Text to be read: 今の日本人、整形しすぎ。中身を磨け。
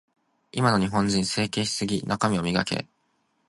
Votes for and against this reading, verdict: 2, 0, accepted